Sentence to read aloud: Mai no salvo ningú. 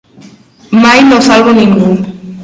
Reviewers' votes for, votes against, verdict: 0, 2, rejected